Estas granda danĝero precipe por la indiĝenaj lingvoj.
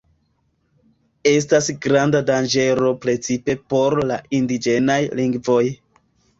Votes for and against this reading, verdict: 2, 0, accepted